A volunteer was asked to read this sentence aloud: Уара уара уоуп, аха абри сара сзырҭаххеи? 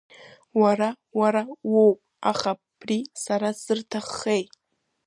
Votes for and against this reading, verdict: 1, 2, rejected